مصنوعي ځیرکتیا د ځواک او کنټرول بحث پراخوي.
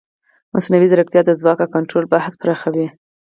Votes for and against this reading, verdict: 0, 4, rejected